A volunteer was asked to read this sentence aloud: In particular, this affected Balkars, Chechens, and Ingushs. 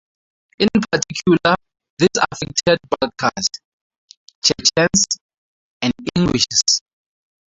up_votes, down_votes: 0, 4